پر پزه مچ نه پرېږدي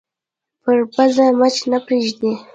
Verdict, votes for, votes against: rejected, 1, 2